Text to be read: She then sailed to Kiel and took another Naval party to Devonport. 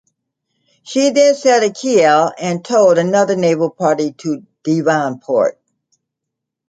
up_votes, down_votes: 2, 1